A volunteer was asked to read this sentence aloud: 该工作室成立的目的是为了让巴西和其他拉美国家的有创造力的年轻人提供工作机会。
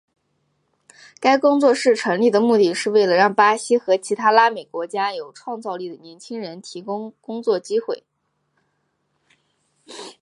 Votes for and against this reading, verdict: 7, 2, accepted